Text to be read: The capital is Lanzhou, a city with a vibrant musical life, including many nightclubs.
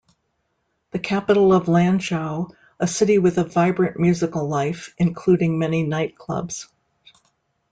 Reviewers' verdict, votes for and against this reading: rejected, 0, 2